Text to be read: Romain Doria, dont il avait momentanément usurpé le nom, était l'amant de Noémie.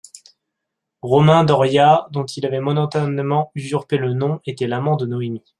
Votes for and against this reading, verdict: 0, 2, rejected